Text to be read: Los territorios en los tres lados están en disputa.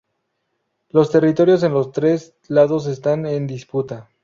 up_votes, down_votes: 0, 2